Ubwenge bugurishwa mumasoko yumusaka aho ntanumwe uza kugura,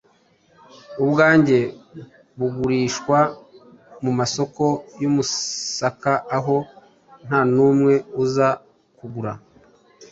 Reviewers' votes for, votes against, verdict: 1, 2, rejected